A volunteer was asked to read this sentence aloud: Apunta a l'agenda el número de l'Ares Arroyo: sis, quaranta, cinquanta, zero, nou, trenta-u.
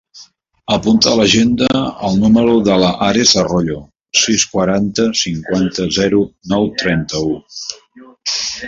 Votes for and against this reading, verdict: 1, 2, rejected